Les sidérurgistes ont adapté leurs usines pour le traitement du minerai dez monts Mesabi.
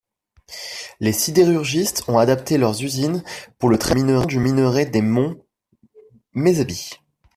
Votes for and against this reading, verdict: 1, 2, rejected